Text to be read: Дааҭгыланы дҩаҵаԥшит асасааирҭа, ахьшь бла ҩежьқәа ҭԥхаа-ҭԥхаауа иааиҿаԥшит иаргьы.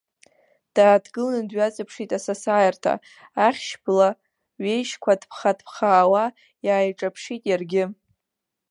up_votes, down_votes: 2, 0